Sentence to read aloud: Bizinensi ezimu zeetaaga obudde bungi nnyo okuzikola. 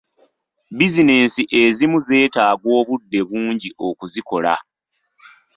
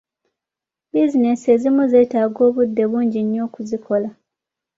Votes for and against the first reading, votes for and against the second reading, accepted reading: 0, 2, 2, 0, second